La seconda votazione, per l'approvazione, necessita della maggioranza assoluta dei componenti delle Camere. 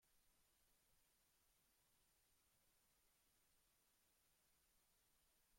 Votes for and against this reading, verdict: 0, 2, rejected